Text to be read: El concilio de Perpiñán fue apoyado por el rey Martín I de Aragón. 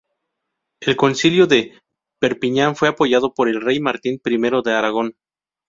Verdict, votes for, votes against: accepted, 2, 0